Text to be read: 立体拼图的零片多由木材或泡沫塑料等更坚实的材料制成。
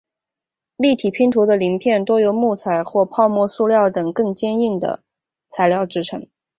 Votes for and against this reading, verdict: 0, 2, rejected